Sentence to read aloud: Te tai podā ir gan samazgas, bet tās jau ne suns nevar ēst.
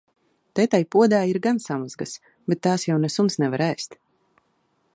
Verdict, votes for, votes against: accepted, 2, 0